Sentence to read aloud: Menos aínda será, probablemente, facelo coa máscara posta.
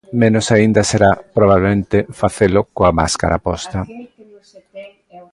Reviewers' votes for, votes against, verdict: 2, 1, accepted